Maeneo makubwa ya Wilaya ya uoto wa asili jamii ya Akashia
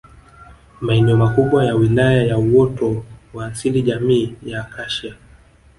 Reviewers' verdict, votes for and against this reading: accepted, 4, 1